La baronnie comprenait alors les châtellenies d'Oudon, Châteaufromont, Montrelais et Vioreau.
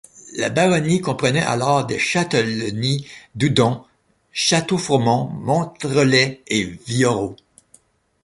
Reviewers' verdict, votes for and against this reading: rejected, 1, 2